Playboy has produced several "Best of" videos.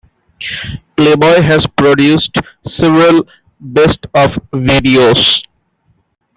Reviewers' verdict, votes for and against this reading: rejected, 1, 2